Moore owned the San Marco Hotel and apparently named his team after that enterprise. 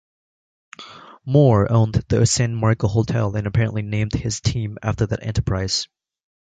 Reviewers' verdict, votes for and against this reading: accepted, 2, 0